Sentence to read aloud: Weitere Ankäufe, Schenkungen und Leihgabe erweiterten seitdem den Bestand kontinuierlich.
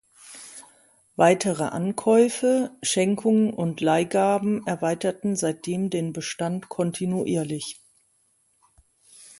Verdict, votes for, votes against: rejected, 0, 2